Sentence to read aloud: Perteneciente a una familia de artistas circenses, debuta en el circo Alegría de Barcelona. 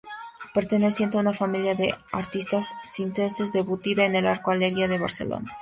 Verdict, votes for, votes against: rejected, 0, 2